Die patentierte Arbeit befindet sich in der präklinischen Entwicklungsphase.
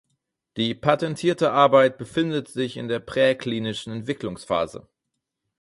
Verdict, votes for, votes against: rejected, 2, 4